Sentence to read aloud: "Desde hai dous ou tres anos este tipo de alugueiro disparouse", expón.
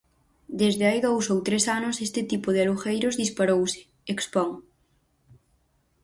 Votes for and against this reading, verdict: 0, 4, rejected